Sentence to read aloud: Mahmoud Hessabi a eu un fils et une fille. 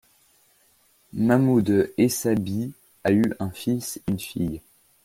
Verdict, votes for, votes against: rejected, 0, 2